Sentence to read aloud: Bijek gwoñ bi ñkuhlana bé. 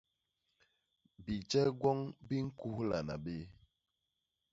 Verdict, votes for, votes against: accepted, 2, 0